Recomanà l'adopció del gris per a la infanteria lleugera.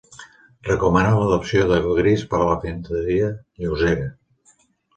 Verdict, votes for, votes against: rejected, 0, 2